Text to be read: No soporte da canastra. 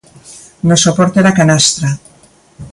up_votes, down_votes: 2, 0